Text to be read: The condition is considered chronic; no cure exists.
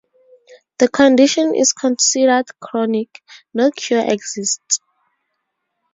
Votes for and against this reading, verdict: 2, 0, accepted